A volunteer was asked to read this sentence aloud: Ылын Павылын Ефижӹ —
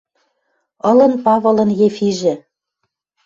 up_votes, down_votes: 2, 0